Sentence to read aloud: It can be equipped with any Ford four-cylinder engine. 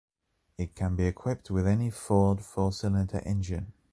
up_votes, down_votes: 2, 0